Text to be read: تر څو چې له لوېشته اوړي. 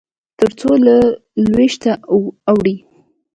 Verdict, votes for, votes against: accepted, 2, 1